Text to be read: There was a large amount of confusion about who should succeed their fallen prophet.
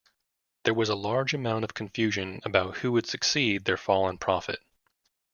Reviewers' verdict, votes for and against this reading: rejected, 0, 2